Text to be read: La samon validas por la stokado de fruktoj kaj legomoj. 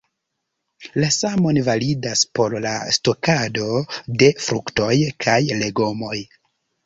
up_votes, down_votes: 1, 2